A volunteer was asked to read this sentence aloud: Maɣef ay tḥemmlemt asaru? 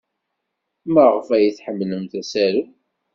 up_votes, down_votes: 2, 0